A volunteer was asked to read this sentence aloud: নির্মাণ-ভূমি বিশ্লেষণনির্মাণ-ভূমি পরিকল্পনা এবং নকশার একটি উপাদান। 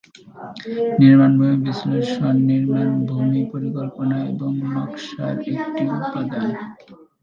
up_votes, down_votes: 2, 2